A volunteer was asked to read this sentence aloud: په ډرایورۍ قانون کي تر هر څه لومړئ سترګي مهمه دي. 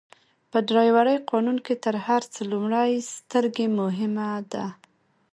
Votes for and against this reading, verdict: 2, 0, accepted